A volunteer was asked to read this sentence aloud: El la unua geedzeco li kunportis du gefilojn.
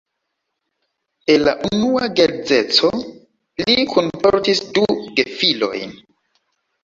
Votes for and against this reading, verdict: 2, 0, accepted